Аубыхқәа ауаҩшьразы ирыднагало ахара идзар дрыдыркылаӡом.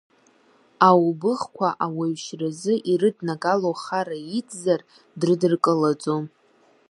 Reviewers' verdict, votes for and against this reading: accepted, 2, 0